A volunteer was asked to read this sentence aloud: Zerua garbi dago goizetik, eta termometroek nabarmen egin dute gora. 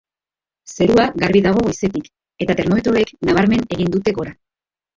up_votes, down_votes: 1, 3